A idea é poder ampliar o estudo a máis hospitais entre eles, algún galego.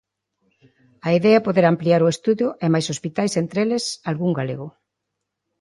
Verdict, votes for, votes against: rejected, 0, 2